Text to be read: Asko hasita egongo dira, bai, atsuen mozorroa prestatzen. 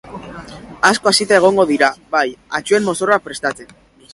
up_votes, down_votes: 1, 2